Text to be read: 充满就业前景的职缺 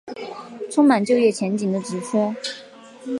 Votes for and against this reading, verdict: 3, 1, accepted